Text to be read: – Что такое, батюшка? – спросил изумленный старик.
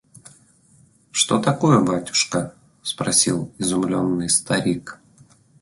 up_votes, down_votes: 2, 0